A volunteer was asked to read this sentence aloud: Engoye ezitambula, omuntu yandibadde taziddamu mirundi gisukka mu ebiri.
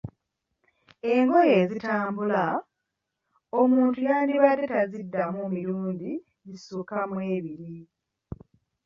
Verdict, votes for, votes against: accepted, 2, 1